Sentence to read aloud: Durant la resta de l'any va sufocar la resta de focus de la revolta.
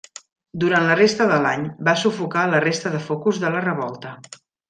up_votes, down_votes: 3, 0